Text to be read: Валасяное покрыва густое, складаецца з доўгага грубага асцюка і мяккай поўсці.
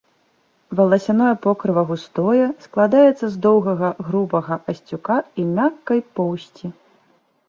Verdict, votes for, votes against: accepted, 2, 0